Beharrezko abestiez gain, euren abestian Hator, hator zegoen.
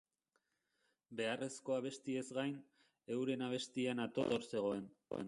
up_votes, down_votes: 1, 2